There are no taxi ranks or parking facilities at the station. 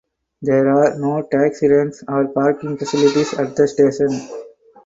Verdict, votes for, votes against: accepted, 4, 0